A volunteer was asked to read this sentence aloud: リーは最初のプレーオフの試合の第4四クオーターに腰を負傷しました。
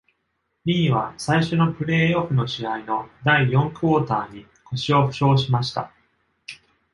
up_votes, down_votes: 0, 2